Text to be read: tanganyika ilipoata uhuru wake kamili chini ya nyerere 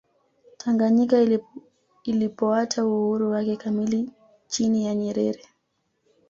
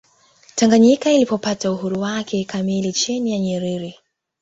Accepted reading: first